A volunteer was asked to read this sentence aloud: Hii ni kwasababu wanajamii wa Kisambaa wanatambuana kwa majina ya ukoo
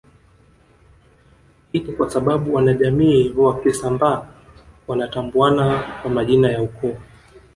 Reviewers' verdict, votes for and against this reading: rejected, 0, 2